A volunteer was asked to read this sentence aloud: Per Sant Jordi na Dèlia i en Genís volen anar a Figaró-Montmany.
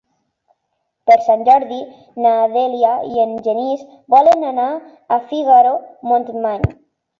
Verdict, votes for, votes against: accepted, 3, 0